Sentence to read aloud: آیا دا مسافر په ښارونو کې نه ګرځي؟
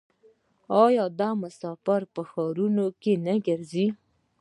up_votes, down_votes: 2, 0